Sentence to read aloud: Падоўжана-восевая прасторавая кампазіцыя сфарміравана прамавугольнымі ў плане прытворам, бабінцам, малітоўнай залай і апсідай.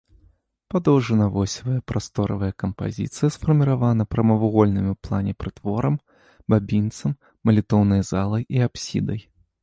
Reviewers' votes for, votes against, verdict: 2, 0, accepted